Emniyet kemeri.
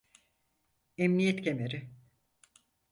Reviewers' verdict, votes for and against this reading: accepted, 4, 0